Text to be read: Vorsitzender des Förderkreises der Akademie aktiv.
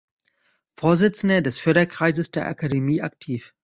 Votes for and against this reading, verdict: 2, 0, accepted